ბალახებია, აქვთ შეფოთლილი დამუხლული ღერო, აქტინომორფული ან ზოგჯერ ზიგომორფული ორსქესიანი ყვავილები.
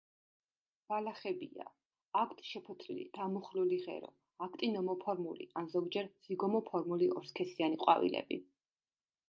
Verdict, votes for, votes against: rejected, 1, 2